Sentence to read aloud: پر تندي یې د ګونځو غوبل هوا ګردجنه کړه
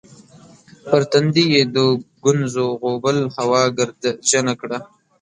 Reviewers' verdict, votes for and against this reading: rejected, 1, 2